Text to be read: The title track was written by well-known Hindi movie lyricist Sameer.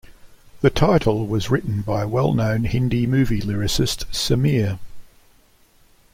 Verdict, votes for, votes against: rejected, 0, 2